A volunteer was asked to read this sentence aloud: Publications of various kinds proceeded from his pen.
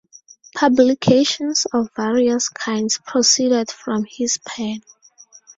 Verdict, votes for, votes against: accepted, 2, 0